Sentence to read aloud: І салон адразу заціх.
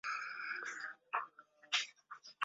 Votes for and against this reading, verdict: 0, 2, rejected